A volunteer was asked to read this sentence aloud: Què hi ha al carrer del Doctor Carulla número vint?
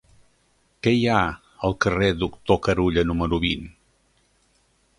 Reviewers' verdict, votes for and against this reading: rejected, 1, 2